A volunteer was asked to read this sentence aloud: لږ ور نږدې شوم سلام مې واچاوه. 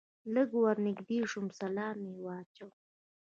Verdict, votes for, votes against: rejected, 0, 2